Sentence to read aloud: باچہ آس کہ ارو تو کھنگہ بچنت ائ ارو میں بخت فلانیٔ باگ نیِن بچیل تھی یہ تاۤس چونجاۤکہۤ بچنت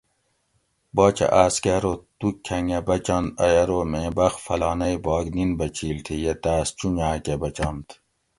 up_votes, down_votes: 2, 0